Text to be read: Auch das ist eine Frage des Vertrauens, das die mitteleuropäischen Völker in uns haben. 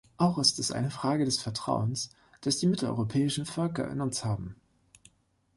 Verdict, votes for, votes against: rejected, 1, 2